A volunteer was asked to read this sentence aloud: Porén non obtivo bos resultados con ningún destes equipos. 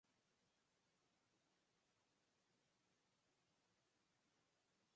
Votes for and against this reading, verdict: 0, 4, rejected